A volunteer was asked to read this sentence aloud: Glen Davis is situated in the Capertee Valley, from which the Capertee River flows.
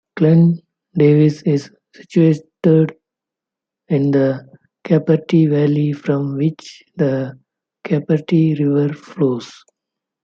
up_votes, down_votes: 1, 2